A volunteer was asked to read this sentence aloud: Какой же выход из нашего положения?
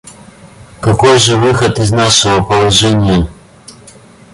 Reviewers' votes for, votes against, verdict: 0, 2, rejected